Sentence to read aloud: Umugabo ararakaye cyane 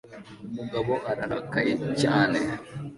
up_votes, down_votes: 2, 0